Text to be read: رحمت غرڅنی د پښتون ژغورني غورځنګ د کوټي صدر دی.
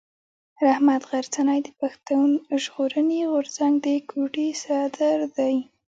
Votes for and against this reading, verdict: 3, 0, accepted